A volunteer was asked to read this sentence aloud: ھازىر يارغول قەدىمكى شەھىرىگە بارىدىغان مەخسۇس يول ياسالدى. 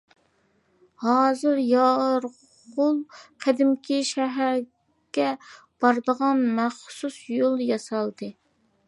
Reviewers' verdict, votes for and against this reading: rejected, 0, 2